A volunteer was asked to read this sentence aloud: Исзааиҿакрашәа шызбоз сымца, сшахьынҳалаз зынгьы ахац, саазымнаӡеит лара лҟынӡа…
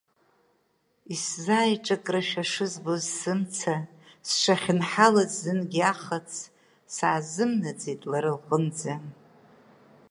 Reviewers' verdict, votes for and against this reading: accepted, 2, 0